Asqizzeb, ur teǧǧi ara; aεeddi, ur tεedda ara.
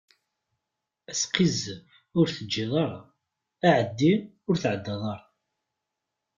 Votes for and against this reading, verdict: 0, 2, rejected